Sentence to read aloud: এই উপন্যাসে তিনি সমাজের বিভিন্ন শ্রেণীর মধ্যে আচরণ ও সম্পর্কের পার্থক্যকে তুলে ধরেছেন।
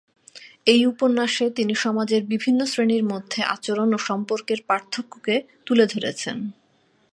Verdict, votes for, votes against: accepted, 3, 1